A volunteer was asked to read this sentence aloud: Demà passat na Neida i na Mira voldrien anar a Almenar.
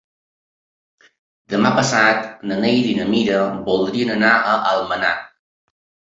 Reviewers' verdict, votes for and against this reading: accepted, 3, 0